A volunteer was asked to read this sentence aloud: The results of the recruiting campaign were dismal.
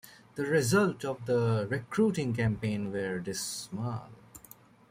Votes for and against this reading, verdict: 1, 2, rejected